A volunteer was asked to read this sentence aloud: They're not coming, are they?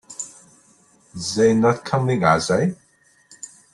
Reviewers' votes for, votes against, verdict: 2, 0, accepted